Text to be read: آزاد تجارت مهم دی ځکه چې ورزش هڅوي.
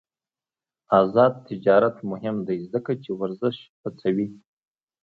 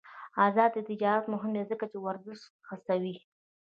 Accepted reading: first